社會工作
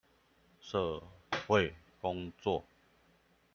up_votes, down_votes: 0, 2